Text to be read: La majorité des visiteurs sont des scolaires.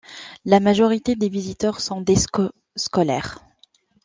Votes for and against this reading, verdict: 0, 2, rejected